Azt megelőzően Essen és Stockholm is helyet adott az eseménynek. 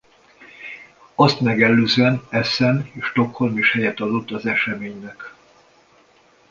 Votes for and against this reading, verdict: 2, 0, accepted